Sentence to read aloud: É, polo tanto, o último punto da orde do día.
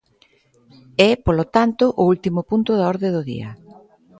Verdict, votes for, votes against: accepted, 2, 0